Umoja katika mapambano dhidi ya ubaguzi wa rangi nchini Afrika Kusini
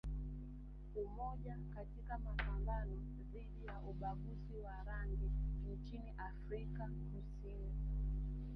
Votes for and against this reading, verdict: 1, 2, rejected